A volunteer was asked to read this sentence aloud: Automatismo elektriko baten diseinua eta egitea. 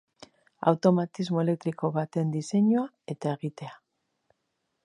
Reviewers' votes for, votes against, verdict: 3, 0, accepted